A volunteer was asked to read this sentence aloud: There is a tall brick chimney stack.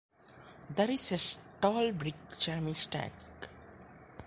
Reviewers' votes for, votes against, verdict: 0, 2, rejected